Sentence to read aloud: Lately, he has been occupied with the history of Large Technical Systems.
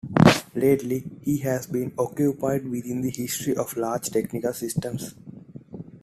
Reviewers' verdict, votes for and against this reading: accepted, 2, 1